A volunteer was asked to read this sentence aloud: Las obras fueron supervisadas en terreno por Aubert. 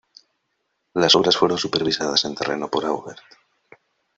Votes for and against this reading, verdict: 1, 2, rejected